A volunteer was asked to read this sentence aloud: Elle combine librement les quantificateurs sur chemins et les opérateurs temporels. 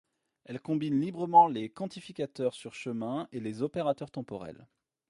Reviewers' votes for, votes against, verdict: 1, 2, rejected